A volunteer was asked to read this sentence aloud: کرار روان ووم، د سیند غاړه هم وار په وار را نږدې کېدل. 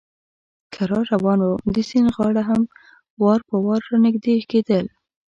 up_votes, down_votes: 3, 0